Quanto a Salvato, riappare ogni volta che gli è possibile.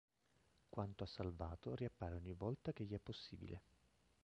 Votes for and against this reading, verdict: 2, 3, rejected